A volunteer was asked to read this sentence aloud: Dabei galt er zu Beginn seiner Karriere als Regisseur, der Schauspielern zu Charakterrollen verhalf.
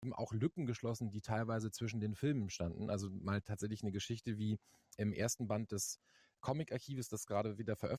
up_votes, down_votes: 0, 2